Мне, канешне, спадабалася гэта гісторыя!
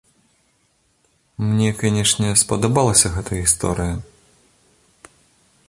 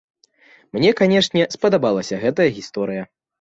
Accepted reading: first